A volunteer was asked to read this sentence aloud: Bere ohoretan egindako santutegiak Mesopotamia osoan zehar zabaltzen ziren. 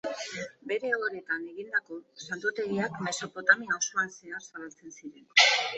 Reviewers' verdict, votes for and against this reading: accepted, 2, 0